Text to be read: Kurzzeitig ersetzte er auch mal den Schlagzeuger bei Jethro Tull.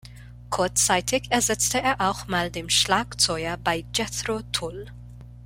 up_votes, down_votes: 1, 2